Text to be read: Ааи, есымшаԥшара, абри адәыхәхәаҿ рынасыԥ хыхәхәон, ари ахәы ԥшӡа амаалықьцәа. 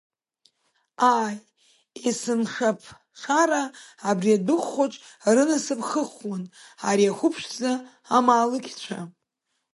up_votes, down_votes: 1, 2